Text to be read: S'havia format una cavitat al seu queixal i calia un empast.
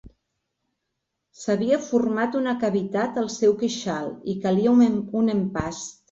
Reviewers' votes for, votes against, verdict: 1, 2, rejected